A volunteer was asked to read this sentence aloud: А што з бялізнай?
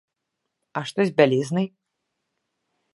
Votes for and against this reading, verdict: 2, 0, accepted